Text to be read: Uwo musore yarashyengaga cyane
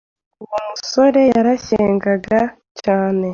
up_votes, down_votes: 2, 0